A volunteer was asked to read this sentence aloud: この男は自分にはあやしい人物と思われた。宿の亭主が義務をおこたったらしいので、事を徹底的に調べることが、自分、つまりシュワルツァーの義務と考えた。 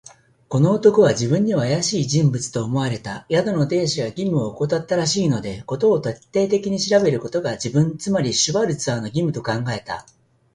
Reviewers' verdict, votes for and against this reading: accepted, 2, 0